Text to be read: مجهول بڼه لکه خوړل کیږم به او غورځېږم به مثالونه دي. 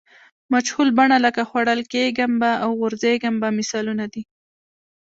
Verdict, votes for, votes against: accepted, 2, 1